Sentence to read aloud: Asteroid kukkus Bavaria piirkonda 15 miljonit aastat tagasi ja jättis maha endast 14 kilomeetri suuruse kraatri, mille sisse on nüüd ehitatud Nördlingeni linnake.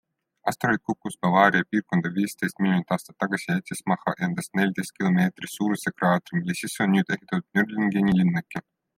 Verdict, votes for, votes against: rejected, 0, 2